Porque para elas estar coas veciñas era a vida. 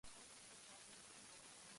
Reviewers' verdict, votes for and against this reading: rejected, 0, 2